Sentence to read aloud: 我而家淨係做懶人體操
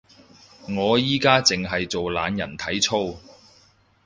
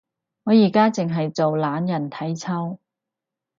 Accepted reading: second